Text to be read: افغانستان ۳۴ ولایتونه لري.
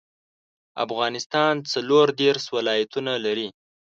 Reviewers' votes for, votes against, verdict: 0, 2, rejected